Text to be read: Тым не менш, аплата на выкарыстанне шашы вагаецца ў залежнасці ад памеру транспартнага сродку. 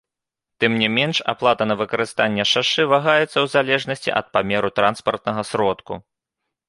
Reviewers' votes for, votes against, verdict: 2, 0, accepted